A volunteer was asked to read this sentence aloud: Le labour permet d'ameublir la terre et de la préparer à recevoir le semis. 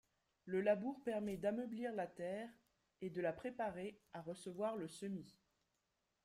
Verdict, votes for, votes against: accepted, 3, 1